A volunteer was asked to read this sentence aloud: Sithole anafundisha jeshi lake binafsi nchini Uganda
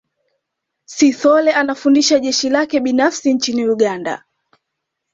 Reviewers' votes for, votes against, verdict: 2, 0, accepted